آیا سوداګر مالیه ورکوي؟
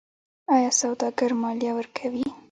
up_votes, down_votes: 3, 1